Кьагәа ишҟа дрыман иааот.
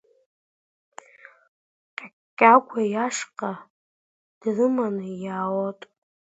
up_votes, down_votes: 0, 2